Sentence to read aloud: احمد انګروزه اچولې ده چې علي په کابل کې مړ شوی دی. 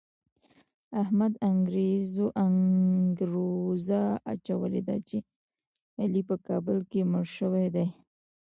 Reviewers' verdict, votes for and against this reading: accepted, 2, 0